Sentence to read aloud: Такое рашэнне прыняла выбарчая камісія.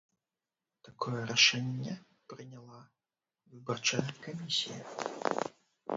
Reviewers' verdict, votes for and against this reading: rejected, 1, 2